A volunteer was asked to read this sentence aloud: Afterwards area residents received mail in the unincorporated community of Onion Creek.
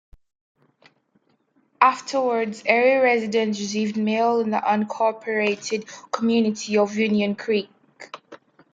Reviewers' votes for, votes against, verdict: 1, 2, rejected